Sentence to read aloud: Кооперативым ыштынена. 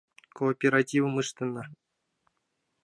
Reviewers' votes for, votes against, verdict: 0, 2, rejected